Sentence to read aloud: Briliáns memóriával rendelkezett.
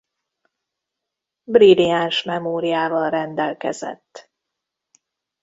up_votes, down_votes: 1, 2